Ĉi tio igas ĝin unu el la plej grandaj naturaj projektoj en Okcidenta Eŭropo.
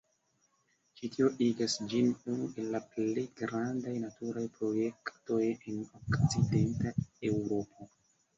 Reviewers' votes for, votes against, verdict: 1, 2, rejected